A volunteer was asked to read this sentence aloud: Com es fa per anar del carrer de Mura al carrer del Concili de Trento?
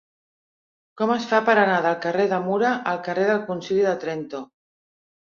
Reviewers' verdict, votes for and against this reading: rejected, 1, 2